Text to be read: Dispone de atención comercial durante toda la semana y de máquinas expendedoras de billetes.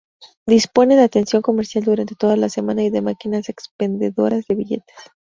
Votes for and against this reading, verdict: 0, 2, rejected